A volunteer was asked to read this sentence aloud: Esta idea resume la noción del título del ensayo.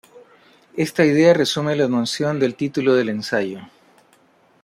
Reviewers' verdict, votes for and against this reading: accepted, 2, 0